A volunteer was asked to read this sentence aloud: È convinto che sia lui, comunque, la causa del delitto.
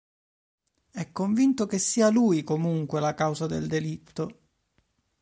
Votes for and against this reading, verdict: 2, 0, accepted